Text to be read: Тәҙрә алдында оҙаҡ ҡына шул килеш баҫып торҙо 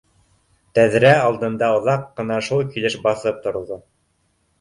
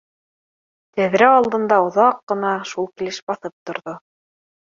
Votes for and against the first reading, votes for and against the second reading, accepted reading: 0, 2, 2, 0, second